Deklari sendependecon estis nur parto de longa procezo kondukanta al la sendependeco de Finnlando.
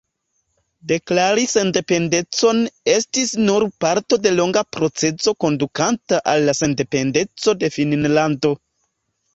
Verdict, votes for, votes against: rejected, 1, 2